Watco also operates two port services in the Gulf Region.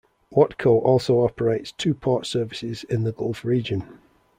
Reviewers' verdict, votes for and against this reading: accepted, 2, 0